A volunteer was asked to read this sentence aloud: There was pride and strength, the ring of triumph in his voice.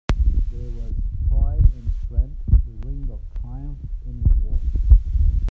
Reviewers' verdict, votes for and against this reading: rejected, 0, 2